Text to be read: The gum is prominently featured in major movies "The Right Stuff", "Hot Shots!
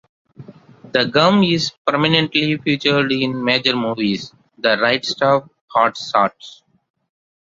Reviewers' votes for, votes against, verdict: 0, 2, rejected